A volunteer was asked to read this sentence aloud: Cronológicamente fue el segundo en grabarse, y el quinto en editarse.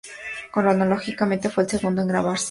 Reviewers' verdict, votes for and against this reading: rejected, 0, 4